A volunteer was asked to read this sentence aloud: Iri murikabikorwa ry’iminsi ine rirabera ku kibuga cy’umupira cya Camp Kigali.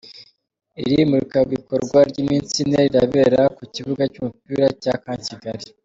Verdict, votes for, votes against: accepted, 2, 0